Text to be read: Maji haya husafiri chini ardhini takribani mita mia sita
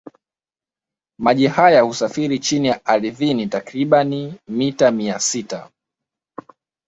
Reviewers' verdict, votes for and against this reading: accepted, 2, 0